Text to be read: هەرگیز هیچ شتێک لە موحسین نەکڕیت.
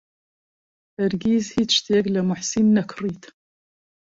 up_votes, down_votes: 2, 0